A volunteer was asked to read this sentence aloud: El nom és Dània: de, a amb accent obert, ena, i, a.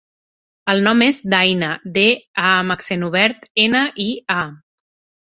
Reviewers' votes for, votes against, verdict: 0, 3, rejected